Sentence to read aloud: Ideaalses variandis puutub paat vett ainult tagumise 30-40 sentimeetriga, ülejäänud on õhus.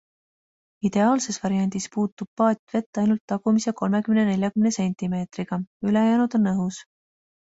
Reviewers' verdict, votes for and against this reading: rejected, 0, 2